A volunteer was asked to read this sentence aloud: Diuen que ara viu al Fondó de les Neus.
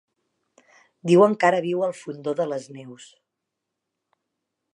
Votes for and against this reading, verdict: 3, 1, accepted